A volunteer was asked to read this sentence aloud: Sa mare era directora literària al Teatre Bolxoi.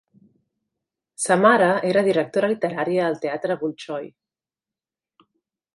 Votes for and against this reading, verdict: 2, 0, accepted